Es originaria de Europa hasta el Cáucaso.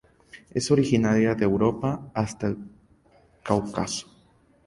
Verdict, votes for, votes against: accepted, 2, 0